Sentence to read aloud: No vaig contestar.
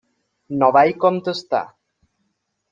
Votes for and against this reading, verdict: 1, 2, rejected